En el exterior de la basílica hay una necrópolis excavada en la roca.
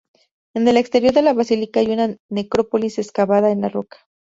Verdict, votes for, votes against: rejected, 0, 2